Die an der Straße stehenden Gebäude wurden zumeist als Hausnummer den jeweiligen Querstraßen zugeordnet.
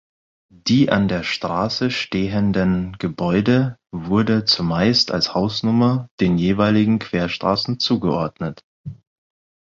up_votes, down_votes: 0, 6